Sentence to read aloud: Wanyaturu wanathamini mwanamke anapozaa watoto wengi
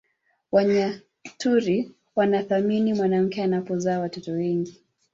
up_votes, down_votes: 1, 2